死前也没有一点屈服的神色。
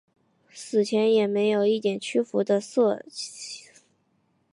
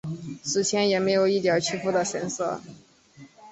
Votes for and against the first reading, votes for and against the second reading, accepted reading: 1, 2, 2, 0, second